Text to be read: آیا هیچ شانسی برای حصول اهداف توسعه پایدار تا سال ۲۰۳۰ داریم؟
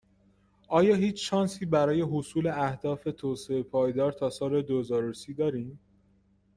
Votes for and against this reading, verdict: 0, 2, rejected